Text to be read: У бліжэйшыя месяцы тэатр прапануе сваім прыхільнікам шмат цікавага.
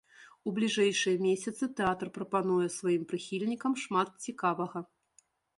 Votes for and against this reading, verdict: 2, 0, accepted